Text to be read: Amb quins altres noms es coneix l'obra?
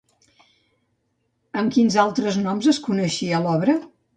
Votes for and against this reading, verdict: 1, 2, rejected